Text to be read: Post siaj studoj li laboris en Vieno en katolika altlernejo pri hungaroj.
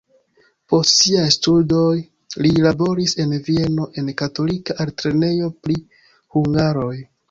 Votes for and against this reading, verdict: 1, 2, rejected